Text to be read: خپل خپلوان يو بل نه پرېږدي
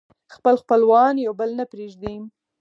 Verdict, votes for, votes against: rejected, 2, 4